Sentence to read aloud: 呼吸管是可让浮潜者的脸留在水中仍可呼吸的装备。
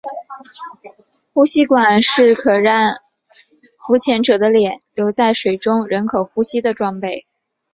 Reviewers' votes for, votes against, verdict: 3, 1, accepted